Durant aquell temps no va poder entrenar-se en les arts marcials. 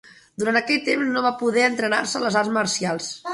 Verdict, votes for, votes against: rejected, 1, 2